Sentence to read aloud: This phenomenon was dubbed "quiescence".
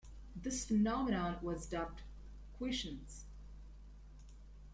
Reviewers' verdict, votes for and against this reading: accepted, 2, 1